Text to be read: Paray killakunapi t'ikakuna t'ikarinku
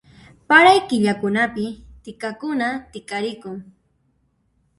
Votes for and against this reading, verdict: 1, 2, rejected